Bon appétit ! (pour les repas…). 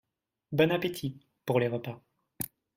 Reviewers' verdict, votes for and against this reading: accepted, 2, 0